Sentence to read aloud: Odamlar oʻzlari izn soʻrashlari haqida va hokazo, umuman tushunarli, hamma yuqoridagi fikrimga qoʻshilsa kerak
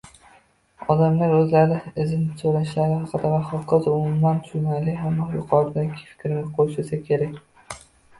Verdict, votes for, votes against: rejected, 0, 2